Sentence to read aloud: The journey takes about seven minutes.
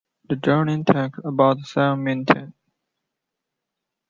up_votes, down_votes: 0, 2